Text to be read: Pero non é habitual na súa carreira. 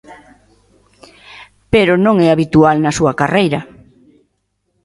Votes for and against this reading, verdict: 2, 0, accepted